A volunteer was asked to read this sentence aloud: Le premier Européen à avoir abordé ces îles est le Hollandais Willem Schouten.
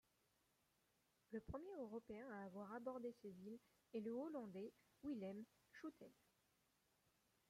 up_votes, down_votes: 0, 2